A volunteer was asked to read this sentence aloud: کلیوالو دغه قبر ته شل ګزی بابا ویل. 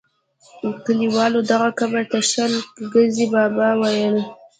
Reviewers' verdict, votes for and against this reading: rejected, 1, 2